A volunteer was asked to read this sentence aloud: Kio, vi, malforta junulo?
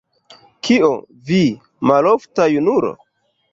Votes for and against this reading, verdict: 0, 2, rejected